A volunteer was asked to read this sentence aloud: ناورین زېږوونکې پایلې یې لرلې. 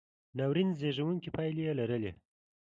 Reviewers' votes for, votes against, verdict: 3, 0, accepted